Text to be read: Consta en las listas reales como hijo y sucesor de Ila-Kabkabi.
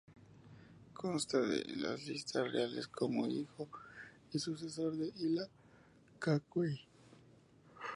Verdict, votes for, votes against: rejected, 0, 2